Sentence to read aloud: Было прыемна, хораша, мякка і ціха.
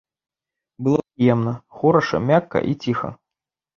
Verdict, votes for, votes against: rejected, 0, 2